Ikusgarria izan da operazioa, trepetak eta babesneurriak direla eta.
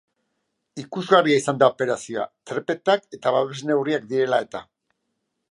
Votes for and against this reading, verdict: 2, 0, accepted